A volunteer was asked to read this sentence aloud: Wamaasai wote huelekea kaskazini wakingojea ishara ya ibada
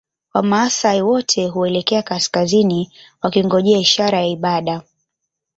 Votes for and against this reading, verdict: 3, 1, accepted